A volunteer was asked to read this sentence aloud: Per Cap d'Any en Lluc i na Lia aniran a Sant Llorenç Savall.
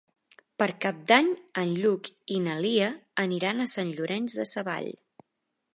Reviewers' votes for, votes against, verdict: 0, 2, rejected